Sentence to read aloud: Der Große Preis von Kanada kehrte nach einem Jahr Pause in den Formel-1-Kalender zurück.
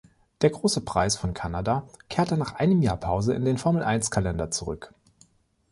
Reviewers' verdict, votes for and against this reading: rejected, 0, 2